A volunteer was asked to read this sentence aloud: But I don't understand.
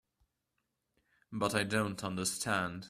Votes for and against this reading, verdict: 2, 0, accepted